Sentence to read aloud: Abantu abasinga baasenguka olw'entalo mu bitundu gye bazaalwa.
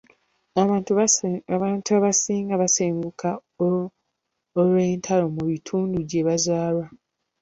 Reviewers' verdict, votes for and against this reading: rejected, 1, 2